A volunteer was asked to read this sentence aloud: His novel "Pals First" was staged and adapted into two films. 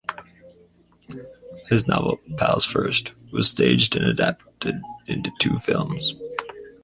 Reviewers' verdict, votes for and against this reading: accepted, 4, 0